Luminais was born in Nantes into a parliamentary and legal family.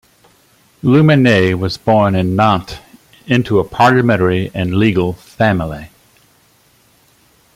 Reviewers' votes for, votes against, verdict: 1, 2, rejected